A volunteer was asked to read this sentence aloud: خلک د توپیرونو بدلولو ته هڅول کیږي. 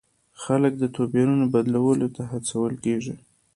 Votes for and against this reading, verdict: 2, 0, accepted